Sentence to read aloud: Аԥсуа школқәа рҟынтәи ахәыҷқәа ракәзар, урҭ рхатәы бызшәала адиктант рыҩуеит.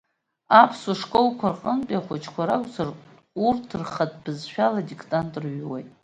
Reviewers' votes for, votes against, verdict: 2, 1, accepted